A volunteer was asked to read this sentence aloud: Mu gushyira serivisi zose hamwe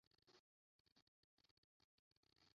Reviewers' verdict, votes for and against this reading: rejected, 0, 2